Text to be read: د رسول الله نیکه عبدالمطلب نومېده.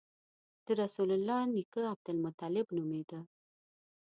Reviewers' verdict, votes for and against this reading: accepted, 2, 0